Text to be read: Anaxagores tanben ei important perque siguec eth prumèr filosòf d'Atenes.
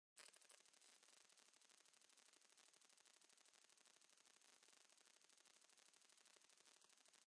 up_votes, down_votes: 0, 2